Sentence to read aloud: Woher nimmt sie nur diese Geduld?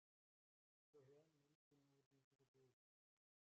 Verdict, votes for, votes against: rejected, 0, 2